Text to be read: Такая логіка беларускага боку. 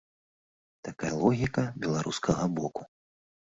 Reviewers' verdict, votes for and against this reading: accepted, 2, 0